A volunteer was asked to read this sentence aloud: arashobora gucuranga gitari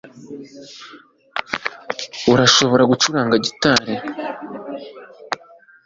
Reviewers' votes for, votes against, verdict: 2, 0, accepted